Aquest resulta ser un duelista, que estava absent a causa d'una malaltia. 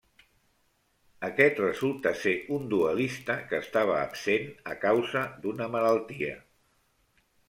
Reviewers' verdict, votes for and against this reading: rejected, 0, 2